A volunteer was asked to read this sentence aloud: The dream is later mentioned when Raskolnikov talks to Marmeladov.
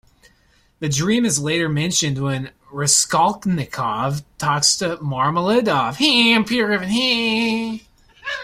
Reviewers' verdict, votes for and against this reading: rejected, 1, 2